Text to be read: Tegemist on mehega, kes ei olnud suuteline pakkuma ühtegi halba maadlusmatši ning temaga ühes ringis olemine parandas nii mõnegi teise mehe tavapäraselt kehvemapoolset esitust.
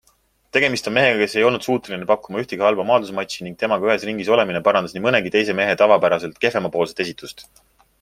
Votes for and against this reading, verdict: 2, 1, accepted